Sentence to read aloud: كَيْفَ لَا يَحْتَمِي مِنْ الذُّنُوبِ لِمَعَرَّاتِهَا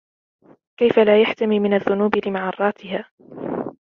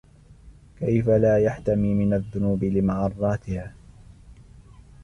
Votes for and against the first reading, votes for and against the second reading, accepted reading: 0, 2, 2, 0, second